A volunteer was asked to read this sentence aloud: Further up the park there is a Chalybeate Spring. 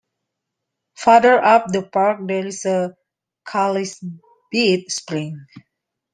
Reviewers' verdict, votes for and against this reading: rejected, 0, 2